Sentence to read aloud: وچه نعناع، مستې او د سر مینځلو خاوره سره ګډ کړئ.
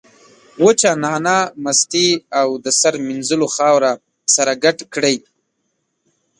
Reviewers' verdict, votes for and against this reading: accepted, 2, 0